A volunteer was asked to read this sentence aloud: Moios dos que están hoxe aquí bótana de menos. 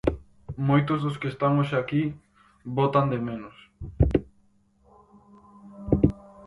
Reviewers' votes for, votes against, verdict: 0, 4, rejected